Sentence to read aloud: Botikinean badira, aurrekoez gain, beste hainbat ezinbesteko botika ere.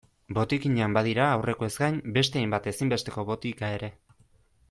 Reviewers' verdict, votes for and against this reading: accepted, 2, 0